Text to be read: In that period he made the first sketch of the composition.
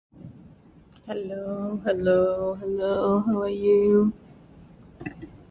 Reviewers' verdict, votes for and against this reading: rejected, 0, 2